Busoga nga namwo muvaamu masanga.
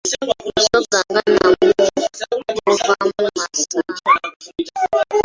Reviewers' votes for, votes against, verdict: 0, 2, rejected